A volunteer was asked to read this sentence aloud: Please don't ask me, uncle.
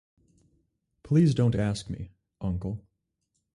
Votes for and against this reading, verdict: 2, 2, rejected